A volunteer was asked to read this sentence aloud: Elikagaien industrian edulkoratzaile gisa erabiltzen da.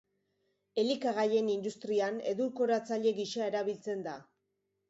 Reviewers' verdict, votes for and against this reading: accepted, 2, 0